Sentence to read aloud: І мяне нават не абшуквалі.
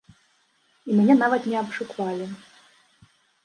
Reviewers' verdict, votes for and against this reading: rejected, 1, 2